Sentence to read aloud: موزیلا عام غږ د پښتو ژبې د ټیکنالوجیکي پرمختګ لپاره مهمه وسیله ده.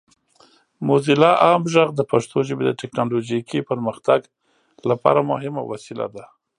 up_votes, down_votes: 3, 0